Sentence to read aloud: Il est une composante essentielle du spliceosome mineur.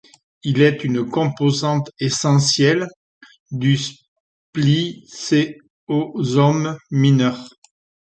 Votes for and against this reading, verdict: 1, 2, rejected